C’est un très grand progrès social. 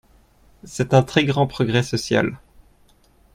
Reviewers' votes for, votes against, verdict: 2, 0, accepted